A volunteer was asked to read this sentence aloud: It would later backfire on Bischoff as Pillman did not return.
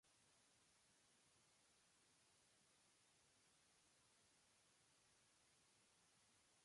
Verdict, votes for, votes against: rejected, 0, 2